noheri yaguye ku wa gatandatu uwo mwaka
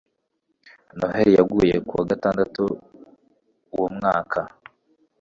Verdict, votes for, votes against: accepted, 2, 0